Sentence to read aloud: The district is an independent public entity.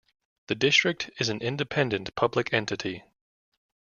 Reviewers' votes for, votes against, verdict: 2, 0, accepted